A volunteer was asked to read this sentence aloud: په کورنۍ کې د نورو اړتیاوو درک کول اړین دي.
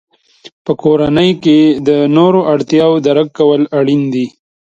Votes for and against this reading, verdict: 1, 2, rejected